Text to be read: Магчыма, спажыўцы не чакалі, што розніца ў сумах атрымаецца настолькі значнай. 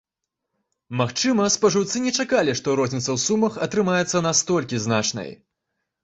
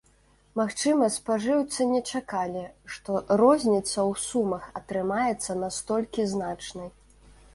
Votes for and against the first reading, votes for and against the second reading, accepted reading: 2, 0, 1, 2, first